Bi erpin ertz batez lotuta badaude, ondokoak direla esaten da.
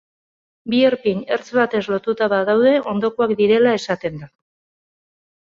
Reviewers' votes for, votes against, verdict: 2, 0, accepted